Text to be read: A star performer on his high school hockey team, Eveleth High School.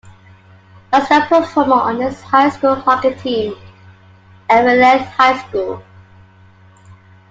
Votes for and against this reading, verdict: 1, 2, rejected